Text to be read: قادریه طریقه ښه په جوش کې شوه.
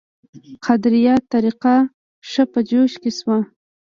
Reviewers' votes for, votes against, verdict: 2, 0, accepted